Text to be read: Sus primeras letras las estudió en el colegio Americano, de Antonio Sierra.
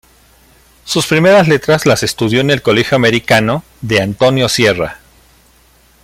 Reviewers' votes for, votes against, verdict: 2, 1, accepted